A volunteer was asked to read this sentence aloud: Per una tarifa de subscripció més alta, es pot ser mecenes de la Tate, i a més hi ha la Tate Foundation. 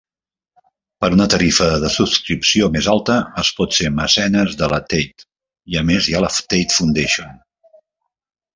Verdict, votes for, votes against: accepted, 2, 0